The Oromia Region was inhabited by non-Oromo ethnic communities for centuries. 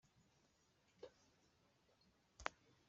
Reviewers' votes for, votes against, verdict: 0, 2, rejected